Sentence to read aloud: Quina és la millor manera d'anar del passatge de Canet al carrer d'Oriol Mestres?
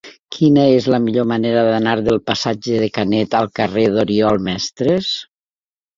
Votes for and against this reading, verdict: 3, 0, accepted